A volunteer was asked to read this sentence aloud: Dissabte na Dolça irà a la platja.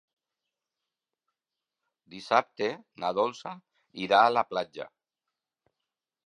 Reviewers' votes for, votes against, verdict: 3, 0, accepted